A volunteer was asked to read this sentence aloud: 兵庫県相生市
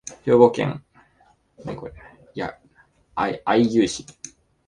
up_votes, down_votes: 0, 5